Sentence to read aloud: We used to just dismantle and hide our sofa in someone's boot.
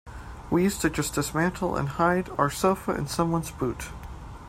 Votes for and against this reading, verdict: 2, 1, accepted